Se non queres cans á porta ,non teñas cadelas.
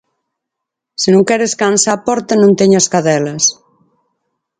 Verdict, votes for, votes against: accepted, 4, 0